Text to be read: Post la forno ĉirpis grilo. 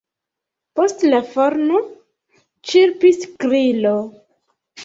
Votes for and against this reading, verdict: 1, 2, rejected